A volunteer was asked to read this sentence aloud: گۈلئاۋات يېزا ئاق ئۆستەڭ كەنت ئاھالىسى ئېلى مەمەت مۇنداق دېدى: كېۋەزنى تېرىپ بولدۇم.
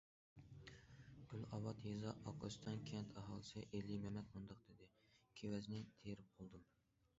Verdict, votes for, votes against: accepted, 2, 0